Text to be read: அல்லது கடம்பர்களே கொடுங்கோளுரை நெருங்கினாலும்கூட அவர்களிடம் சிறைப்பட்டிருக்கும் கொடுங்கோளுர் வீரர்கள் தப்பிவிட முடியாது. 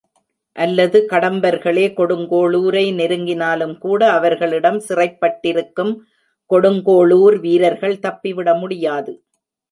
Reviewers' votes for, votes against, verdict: 1, 2, rejected